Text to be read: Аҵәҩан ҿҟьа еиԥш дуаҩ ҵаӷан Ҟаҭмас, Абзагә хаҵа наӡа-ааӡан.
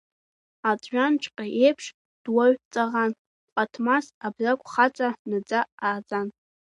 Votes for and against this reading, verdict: 1, 2, rejected